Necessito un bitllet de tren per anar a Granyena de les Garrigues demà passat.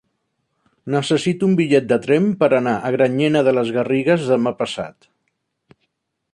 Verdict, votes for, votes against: accepted, 3, 0